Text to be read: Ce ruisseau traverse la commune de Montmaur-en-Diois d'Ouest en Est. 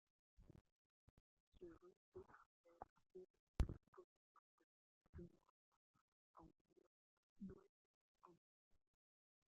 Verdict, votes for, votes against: rejected, 0, 2